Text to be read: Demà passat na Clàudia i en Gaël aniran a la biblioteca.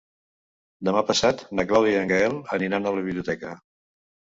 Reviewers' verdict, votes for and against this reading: accepted, 2, 0